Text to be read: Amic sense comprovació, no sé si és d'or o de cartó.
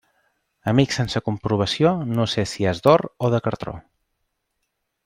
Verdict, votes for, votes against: rejected, 1, 2